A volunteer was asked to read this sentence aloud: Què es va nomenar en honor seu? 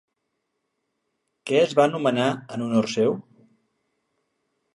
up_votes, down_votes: 2, 0